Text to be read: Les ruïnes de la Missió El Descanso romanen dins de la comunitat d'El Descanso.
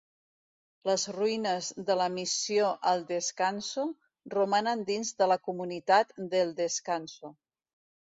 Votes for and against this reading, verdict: 2, 0, accepted